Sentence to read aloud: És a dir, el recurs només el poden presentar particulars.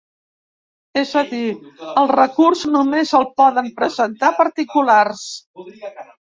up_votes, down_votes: 3, 0